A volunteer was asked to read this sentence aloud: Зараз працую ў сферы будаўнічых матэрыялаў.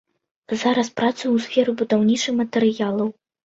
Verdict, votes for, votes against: rejected, 0, 2